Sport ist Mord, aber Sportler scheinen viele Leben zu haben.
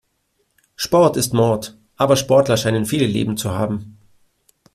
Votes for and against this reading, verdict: 1, 2, rejected